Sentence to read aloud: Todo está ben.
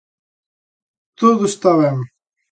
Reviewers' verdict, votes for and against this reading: accepted, 2, 0